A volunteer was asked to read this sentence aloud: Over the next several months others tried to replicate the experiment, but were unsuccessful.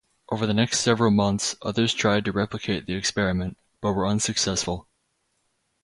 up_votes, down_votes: 2, 0